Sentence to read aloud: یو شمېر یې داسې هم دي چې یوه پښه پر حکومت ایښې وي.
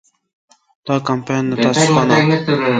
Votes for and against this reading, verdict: 0, 2, rejected